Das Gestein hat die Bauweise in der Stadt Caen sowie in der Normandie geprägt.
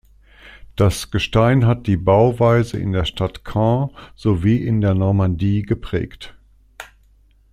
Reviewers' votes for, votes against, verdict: 2, 0, accepted